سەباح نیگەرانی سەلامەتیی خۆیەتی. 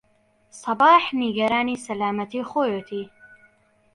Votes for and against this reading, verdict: 2, 0, accepted